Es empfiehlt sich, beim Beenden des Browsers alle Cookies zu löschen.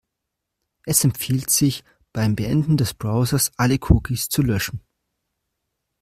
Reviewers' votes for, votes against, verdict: 2, 0, accepted